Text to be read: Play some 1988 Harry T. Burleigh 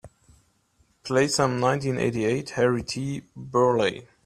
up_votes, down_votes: 0, 2